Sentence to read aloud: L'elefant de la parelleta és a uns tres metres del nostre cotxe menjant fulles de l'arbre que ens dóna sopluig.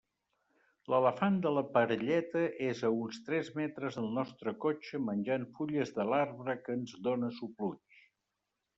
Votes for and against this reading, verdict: 2, 0, accepted